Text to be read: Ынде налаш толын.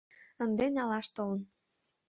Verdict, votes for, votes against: accepted, 2, 0